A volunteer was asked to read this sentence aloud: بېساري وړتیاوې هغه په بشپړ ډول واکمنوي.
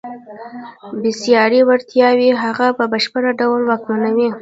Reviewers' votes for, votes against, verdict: 0, 2, rejected